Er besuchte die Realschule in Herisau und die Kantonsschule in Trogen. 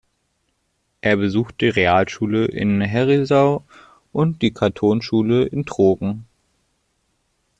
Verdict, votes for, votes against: rejected, 0, 2